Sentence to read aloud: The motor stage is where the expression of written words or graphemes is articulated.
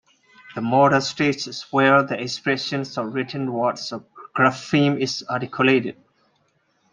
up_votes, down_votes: 2, 1